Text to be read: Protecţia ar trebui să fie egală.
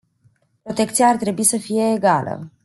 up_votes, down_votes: 0, 2